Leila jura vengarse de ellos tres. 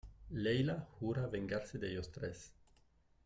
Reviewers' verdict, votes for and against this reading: accepted, 2, 0